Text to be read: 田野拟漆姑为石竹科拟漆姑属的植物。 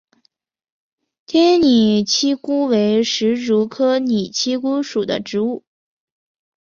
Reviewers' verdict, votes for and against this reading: accepted, 3, 0